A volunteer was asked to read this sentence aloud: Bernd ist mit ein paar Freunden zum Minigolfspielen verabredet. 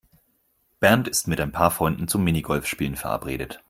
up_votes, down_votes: 4, 0